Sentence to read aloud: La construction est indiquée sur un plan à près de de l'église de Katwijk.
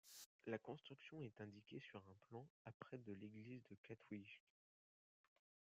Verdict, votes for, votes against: rejected, 1, 2